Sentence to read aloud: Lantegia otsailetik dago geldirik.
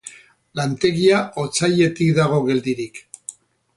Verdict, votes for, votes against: accepted, 2, 0